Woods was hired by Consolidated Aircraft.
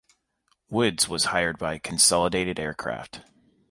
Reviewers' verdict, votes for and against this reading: accepted, 2, 0